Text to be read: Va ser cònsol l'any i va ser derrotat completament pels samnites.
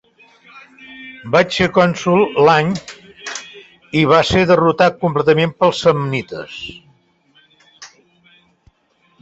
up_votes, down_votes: 1, 2